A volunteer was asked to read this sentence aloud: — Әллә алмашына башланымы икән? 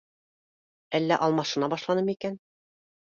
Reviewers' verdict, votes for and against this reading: accepted, 2, 0